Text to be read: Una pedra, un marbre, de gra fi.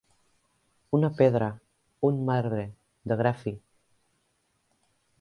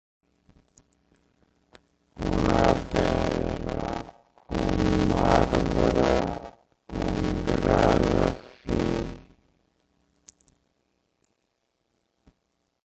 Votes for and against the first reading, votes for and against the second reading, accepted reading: 2, 0, 0, 3, first